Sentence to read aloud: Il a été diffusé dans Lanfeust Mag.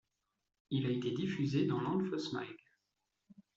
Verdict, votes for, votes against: accepted, 2, 0